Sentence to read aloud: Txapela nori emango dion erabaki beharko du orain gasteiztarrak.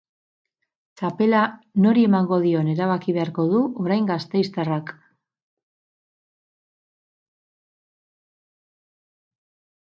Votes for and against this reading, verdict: 4, 0, accepted